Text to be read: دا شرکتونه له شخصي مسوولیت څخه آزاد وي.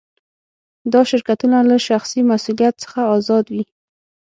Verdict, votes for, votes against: rejected, 3, 6